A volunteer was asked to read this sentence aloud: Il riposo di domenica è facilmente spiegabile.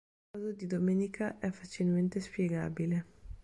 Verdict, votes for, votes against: rejected, 0, 3